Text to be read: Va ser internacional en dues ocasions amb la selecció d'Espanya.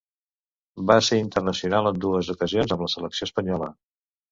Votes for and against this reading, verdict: 0, 2, rejected